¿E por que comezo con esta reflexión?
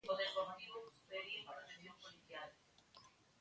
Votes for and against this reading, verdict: 0, 2, rejected